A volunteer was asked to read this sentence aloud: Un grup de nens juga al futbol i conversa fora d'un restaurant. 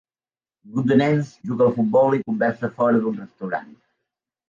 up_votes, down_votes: 2, 1